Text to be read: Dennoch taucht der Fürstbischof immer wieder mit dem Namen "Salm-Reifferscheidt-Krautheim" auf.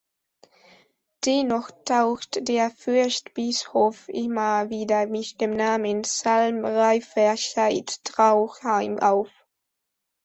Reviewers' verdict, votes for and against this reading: rejected, 0, 2